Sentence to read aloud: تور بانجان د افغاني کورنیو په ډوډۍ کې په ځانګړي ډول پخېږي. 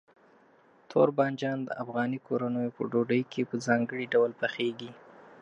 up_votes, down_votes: 3, 0